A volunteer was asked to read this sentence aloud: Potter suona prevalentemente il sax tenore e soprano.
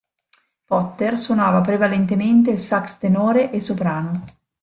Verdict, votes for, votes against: rejected, 0, 2